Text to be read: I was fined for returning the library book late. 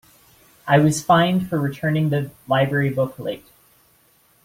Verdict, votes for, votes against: accepted, 2, 0